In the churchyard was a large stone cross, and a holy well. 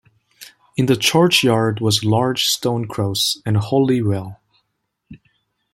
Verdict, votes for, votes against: rejected, 1, 2